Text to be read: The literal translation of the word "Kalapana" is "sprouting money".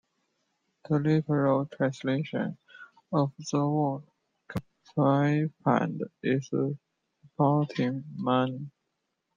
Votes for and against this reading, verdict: 1, 2, rejected